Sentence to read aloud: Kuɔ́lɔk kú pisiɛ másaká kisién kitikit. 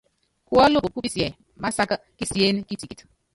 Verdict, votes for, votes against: rejected, 1, 2